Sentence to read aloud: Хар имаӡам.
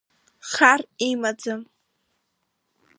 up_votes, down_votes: 2, 0